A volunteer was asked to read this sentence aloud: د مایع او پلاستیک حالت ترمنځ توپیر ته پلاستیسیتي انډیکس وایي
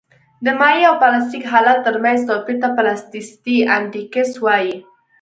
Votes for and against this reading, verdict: 2, 0, accepted